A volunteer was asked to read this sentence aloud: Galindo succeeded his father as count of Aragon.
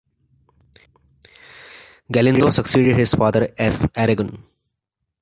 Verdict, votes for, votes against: rejected, 2, 3